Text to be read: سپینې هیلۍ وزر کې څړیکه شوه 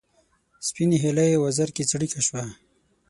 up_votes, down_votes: 6, 0